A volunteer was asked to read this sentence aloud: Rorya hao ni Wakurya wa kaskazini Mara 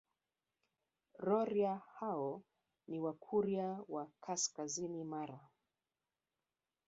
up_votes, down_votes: 1, 2